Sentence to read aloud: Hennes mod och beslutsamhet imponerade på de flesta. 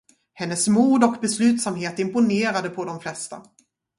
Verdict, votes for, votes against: accepted, 2, 0